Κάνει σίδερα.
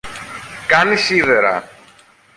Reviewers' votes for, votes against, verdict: 1, 2, rejected